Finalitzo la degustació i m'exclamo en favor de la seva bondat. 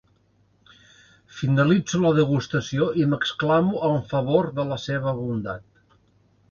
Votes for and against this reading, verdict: 2, 0, accepted